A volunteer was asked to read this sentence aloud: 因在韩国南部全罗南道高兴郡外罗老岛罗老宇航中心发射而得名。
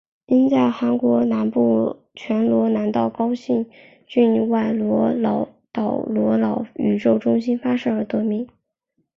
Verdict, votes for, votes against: accepted, 3, 1